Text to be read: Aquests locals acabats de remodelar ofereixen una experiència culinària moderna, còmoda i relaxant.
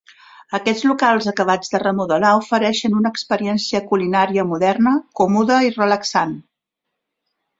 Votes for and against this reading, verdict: 2, 0, accepted